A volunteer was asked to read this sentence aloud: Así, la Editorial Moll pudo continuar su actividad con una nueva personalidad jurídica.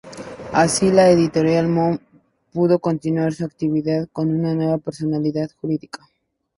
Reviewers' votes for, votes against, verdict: 0, 2, rejected